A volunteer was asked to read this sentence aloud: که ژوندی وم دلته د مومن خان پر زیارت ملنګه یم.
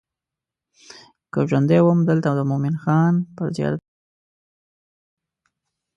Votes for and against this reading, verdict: 1, 2, rejected